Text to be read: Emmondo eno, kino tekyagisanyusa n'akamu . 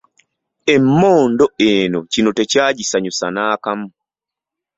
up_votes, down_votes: 2, 0